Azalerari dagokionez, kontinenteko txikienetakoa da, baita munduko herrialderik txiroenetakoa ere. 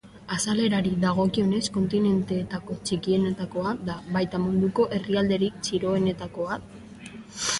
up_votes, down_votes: 0, 2